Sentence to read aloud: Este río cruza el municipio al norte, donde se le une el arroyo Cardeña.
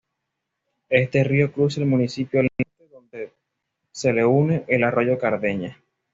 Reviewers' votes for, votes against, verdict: 2, 0, accepted